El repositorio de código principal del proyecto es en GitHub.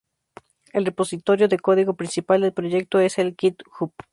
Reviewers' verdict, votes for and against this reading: rejected, 0, 2